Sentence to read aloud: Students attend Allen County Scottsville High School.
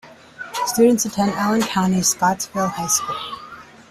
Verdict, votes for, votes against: accepted, 2, 1